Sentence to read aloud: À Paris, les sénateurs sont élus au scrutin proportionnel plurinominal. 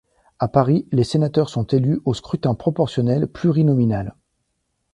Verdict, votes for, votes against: accepted, 2, 0